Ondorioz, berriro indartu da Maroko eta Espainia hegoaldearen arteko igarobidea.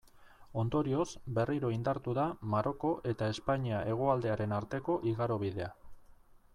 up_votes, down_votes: 2, 0